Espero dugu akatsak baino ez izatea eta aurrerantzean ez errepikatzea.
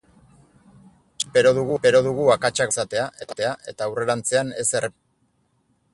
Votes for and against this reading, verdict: 0, 2, rejected